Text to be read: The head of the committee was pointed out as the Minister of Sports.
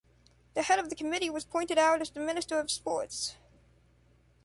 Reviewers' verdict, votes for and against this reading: accepted, 2, 0